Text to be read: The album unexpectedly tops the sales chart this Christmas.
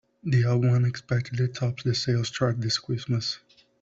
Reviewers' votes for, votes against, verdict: 2, 0, accepted